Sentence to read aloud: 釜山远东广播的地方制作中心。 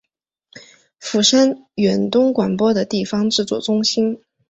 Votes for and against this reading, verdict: 2, 0, accepted